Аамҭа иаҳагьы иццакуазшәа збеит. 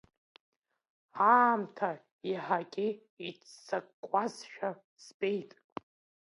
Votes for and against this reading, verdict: 2, 0, accepted